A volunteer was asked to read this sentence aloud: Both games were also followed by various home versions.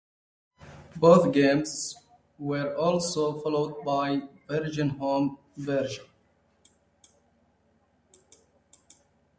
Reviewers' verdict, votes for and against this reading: rejected, 0, 2